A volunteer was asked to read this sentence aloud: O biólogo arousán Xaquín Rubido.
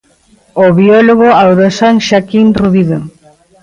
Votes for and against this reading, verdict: 0, 2, rejected